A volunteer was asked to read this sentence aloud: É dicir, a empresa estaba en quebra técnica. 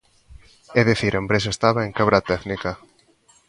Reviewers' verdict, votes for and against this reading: accepted, 2, 0